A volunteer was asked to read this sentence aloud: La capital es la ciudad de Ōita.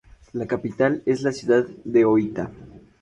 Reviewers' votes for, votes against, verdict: 2, 0, accepted